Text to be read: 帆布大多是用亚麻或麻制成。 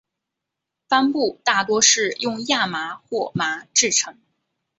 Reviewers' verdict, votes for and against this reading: accepted, 4, 0